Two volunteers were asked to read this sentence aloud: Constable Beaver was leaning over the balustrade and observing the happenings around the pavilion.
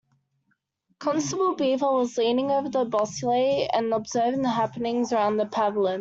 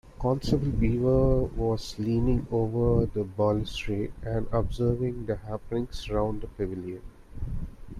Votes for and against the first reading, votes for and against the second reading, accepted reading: 0, 2, 2, 1, second